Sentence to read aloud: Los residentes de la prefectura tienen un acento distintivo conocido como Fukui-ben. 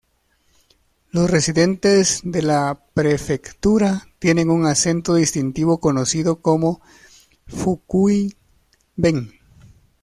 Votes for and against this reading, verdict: 2, 0, accepted